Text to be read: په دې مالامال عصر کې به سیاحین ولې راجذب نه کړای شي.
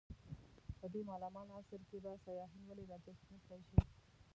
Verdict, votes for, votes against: rejected, 0, 2